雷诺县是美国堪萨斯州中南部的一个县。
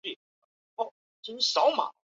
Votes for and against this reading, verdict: 3, 6, rejected